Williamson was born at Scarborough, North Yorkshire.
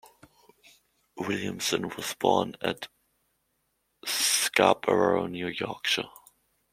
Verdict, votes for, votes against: rejected, 1, 2